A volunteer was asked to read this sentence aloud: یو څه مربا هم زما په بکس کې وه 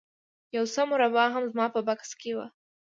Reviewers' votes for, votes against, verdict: 2, 0, accepted